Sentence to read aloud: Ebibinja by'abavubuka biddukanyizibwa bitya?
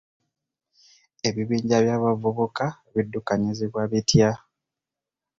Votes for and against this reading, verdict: 2, 0, accepted